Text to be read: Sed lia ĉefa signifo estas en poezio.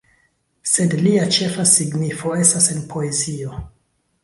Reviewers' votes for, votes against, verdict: 1, 2, rejected